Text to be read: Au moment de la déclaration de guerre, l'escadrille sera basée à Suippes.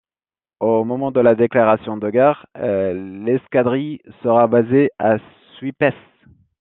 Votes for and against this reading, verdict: 2, 1, accepted